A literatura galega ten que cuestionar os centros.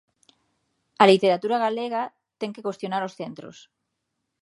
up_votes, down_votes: 2, 0